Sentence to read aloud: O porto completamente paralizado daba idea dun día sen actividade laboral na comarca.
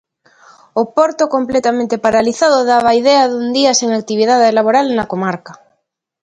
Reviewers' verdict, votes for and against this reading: accepted, 2, 0